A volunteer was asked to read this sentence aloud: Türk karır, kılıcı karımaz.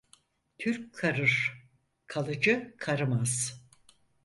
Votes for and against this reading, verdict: 0, 4, rejected